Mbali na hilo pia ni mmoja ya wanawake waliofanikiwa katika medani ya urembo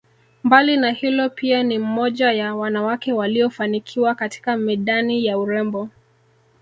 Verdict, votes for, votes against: rejected, 1, 2